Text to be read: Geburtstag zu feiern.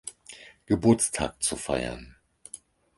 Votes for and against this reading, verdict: 4, 0, accepted